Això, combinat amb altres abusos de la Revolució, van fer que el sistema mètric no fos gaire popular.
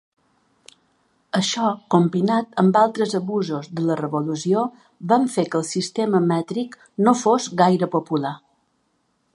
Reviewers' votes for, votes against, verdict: 3, 1, accepted